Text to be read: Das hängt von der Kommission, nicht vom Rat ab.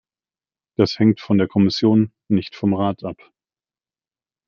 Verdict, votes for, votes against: rejected, 0, 2